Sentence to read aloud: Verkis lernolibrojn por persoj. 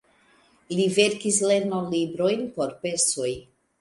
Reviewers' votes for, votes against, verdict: 0, 2, rejected